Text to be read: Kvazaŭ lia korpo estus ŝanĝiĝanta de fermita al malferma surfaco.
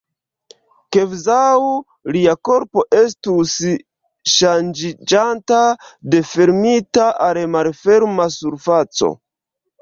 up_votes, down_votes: 1, 2